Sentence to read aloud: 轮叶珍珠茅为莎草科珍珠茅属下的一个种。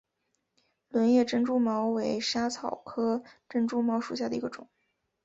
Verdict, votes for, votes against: rejected, 0, 2